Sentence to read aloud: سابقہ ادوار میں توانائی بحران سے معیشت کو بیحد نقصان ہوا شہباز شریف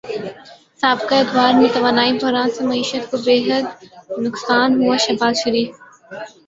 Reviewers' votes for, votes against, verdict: 0, 2, rejected